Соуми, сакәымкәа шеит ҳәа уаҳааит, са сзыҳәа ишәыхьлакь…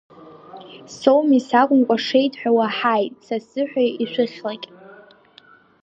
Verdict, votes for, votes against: rejected, 0, 2